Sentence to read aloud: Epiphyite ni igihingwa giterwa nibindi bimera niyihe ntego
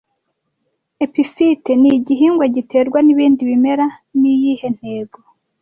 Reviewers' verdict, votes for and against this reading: accepted, 2, 0